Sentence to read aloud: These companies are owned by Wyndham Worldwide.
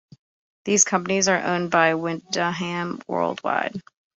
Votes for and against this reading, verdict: 0, 2, rejected